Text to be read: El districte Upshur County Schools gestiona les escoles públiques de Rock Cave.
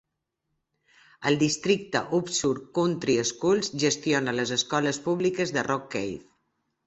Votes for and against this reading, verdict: 0, 2, rejected